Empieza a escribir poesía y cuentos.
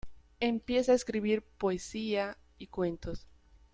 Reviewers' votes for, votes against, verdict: 2, 0, accepted